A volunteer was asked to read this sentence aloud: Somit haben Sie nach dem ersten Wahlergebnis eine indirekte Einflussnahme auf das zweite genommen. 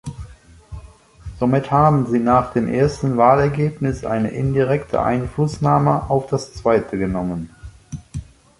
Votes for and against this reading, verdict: 2, 0, accepted